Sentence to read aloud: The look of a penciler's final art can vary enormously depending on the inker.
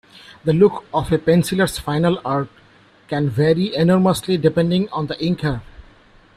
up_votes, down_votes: 2, 0